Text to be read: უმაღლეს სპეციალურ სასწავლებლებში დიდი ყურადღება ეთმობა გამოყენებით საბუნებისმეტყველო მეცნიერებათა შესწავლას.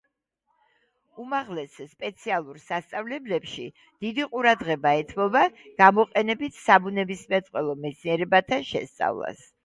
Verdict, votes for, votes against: accepted, 2, 0